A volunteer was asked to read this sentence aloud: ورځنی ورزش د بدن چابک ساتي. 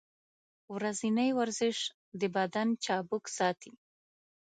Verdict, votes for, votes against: accepted, 2, 0